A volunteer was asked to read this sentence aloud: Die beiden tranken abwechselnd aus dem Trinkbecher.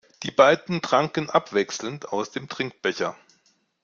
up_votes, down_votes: 2, 0